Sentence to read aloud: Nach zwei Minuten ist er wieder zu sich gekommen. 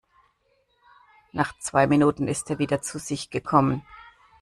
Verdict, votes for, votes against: accepted, 2, 0